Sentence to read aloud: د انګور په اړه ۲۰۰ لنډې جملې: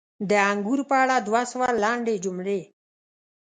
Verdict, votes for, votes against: rejected, 0, 2